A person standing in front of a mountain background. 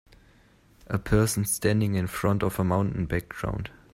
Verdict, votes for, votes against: rejected, 1, 2